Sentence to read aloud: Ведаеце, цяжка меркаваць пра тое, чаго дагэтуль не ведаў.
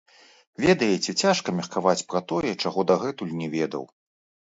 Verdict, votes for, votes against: rejected, 1, 2